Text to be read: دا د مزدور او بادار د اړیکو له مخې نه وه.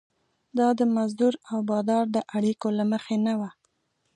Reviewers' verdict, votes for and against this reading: accepted, 2, 0